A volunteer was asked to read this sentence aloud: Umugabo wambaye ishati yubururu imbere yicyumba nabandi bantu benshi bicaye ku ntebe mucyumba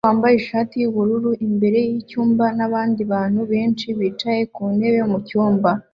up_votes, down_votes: 2, 0